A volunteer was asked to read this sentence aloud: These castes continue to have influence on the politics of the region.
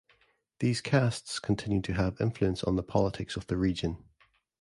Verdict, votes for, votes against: accepted, 2, 0